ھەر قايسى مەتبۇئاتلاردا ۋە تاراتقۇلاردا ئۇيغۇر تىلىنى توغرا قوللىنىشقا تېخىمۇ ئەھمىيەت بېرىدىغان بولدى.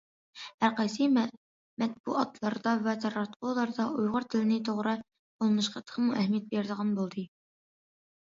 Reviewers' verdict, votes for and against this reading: rejected, 0, 2